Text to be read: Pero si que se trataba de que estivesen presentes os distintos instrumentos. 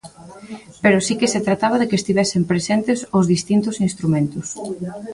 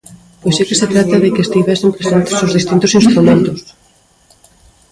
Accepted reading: first